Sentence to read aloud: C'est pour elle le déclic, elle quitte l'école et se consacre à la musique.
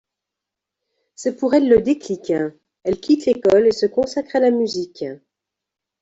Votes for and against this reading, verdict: 2, 0, accepted